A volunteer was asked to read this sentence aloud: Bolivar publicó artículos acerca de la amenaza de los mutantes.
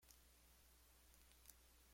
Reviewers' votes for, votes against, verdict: 0, 2, rejected